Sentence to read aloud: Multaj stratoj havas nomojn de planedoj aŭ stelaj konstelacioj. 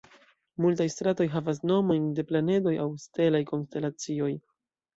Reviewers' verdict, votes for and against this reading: accepted, 2, 0